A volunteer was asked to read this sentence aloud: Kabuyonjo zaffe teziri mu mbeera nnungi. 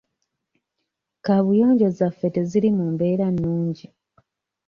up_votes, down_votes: 2, 0